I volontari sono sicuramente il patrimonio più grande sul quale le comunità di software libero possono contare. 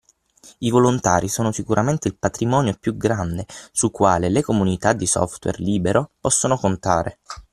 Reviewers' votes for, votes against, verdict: 6, 0, accepted